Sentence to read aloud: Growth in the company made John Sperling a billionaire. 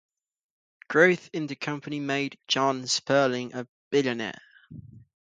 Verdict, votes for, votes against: accepted, 3, 0